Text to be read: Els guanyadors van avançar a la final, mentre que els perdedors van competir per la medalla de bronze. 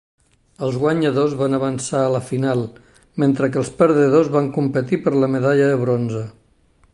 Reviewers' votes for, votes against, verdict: 2, 0, accepted